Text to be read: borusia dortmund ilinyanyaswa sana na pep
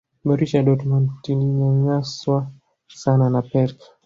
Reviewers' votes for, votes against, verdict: 0, 2, rejected